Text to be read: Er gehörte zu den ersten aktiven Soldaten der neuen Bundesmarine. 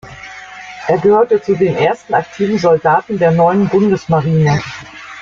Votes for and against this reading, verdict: 1, 2, rejected